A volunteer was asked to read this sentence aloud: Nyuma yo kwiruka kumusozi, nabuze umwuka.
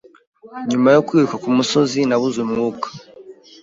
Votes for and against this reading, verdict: 0, 2, rejected